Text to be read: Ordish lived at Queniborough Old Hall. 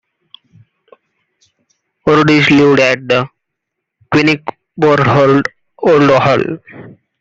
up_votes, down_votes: 0, 2